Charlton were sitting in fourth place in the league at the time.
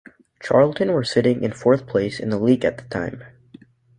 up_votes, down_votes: 2, 0